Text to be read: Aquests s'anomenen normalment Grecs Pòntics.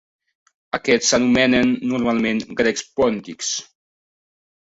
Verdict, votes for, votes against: accepted, 2, 0